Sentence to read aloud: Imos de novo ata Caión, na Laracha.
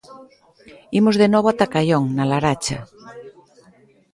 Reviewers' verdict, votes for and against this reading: accepted, 2, 0